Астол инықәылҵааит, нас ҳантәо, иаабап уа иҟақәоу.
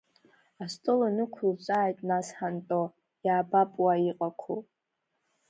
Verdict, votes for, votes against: rejected, 1, 2